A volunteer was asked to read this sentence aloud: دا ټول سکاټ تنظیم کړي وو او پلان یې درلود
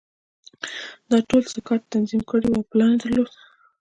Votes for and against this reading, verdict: 2, 1, accepted